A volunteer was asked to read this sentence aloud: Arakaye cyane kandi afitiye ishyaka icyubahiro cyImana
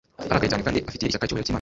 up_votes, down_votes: 0, 2